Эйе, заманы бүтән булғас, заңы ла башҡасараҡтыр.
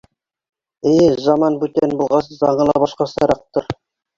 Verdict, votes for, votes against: accepted, 3, 2